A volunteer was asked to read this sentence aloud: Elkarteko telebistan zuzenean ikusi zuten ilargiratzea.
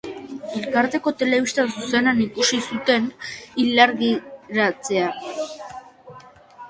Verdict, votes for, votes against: rejected, 1, 2